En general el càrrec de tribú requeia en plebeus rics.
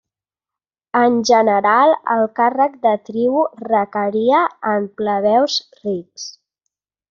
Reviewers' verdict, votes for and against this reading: rejected, 0, 2